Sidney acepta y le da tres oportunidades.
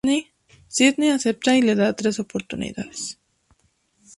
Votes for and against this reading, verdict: 2, 0, accepted